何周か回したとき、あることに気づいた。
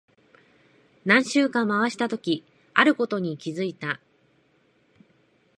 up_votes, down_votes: 2, 0